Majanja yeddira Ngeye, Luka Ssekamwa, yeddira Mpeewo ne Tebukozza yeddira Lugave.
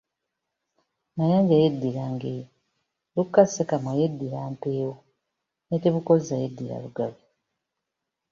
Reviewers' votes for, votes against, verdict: 1, 2, rejected